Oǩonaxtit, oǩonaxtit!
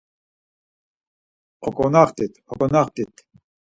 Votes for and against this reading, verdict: 4, 0, accepted